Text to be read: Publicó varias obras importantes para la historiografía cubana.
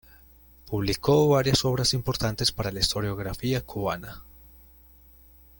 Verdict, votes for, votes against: accepted, 2, 0